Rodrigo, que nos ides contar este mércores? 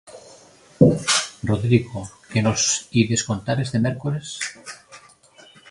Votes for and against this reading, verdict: 1, 2, rejected